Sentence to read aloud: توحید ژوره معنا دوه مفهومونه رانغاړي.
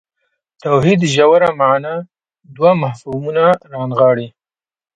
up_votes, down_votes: 1, 2